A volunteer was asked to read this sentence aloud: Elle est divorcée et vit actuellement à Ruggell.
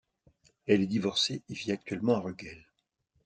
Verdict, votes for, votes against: accepted, 2, 0